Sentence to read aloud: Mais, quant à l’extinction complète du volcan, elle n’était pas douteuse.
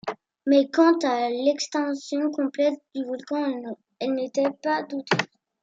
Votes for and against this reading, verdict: 2, 1, accepted